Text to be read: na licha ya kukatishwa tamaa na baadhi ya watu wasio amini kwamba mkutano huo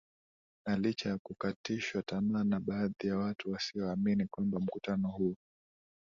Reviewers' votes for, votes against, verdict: 2, 4, rejected